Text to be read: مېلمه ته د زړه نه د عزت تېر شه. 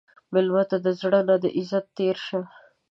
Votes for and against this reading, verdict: 2, 0, accepted